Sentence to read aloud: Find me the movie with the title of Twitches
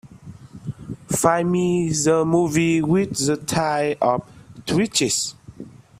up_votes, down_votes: 0, 2